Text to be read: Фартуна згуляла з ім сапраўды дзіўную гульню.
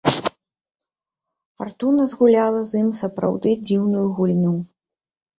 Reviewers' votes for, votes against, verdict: 2, 0, accepted